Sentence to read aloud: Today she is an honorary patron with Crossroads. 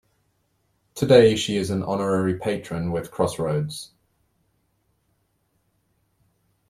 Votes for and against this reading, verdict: 2, 0, accepted